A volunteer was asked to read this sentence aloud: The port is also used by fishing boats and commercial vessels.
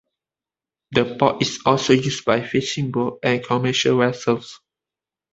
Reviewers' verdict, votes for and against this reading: rejected, 1, 2